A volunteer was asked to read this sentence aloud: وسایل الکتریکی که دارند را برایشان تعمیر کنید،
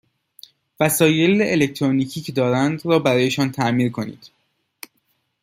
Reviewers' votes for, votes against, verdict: 0, 2, rejected